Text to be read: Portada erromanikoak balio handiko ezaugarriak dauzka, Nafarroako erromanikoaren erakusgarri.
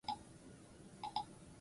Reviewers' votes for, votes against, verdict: 2, 4, rejected